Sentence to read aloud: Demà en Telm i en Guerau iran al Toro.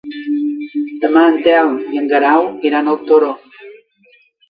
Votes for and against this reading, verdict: 0, 2, rejected